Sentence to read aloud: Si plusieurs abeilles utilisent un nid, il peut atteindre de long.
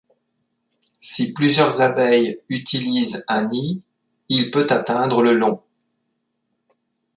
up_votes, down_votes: 0, 2